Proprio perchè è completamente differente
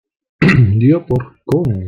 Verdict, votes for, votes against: rejected, 0, 2